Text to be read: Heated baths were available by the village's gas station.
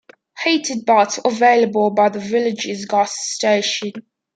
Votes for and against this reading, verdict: 2, 1, accepted